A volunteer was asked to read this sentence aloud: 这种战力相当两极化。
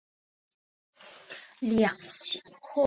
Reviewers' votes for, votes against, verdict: 0, 2, rejected